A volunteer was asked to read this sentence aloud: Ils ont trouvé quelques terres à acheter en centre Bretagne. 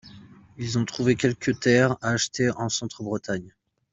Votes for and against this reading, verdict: 2, 1, accepted